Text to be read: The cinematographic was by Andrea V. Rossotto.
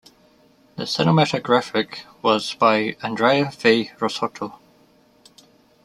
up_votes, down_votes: 2, 0